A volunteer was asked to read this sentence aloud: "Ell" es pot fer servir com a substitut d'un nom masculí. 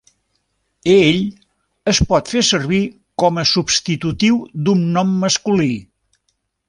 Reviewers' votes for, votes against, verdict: 0, 2, rejected